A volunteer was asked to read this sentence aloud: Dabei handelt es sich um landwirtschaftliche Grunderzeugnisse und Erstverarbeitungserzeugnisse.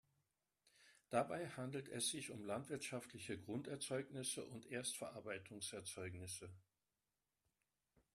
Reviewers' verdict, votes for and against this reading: accepted, 2, 0